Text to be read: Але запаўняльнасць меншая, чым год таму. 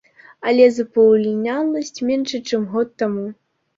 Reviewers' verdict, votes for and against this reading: rejected, 1, 2